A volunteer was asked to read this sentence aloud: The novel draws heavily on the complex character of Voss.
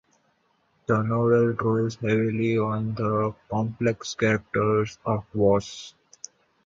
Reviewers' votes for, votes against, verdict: 0, 2, rejected